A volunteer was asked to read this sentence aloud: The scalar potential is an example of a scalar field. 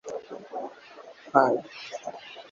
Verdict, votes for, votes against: rejected, 0, 2